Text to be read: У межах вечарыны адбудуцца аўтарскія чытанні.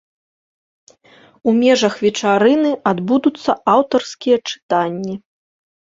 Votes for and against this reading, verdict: 2, 0, accepted